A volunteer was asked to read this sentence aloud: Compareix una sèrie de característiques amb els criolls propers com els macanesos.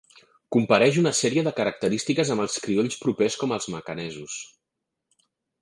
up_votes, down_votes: 2, 0